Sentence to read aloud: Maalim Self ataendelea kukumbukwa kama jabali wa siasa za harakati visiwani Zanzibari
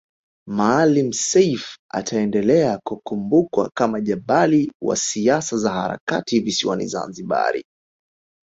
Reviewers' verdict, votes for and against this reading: accepted, 3, 0